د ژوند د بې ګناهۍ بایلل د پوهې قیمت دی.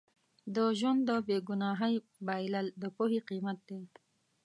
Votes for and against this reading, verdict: 0, 2, rejected